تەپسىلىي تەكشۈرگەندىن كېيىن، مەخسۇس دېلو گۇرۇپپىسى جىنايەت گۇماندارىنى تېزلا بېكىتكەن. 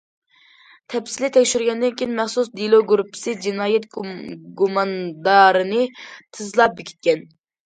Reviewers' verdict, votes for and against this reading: rejected, 1, 2